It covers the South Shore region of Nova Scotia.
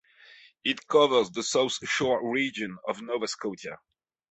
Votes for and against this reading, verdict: 3, 0, accepted